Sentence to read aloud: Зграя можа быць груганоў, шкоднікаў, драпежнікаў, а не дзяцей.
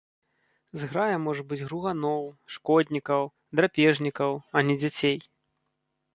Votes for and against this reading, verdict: 2, 0, accepted